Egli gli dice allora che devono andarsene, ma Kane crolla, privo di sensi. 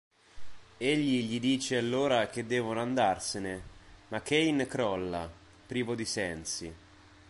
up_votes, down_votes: 2, 0